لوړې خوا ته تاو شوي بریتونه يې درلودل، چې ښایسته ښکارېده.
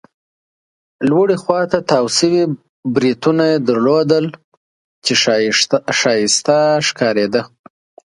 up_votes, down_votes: 2, 0